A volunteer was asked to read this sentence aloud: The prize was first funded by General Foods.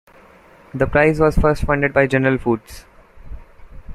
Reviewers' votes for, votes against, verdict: 2, 1, accepted